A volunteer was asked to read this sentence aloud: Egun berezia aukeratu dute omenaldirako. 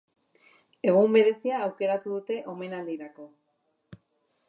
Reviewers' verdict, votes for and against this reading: accepted, 2, 0